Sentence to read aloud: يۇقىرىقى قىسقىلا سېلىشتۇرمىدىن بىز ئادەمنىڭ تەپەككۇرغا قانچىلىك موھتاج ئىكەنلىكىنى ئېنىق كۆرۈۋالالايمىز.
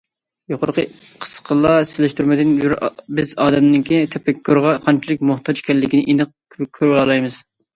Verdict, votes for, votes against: rejected, 0, 2